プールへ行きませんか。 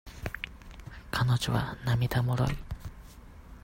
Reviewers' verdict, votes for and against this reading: rejected, 0, 2